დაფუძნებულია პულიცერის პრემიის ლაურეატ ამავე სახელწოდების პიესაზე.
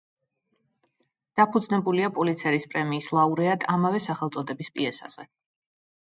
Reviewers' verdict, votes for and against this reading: accepted, 2, 1